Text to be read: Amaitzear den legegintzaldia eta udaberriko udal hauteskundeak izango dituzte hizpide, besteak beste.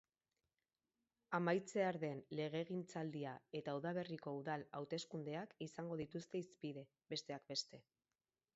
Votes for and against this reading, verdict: 6, 2, accepted